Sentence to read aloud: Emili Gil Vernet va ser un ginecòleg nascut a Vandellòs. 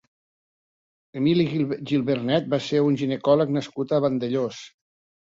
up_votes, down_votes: 0, 3